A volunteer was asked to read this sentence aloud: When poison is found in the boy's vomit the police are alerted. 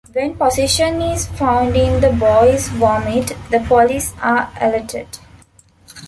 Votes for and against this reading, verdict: 0, 2, rejected